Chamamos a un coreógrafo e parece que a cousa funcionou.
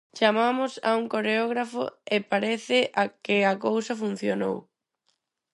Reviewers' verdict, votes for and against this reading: rejected, 2, 4